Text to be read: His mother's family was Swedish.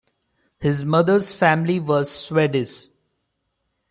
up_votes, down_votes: 1, 2